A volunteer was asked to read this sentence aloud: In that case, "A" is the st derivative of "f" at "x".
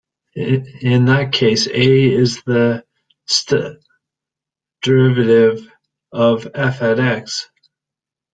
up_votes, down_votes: 2, 1